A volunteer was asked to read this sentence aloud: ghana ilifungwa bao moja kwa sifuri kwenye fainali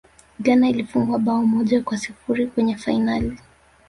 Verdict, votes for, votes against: rejected, 0, 2